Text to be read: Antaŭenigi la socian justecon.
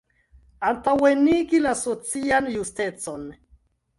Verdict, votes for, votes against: accepted, 2, 0